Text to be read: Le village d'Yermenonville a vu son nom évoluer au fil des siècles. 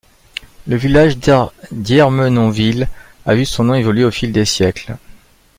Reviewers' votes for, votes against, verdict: 1, 2, rejected